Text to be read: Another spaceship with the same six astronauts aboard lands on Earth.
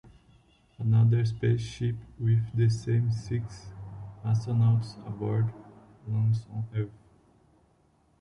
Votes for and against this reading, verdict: 0, 2, rejected